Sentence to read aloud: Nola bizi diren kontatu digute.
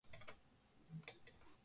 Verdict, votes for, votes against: rejected, 0, 3